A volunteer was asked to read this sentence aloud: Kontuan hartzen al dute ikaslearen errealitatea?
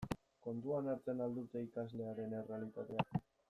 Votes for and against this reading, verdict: 2, 0, accepted